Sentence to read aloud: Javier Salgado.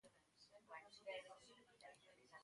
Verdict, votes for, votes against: rejected, 0, 2